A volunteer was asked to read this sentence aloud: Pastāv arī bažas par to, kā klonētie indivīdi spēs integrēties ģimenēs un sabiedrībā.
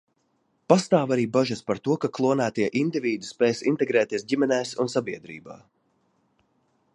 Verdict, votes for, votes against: rejected, 1, 2